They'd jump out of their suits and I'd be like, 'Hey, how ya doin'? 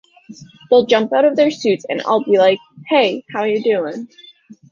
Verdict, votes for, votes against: accepted, 2, 1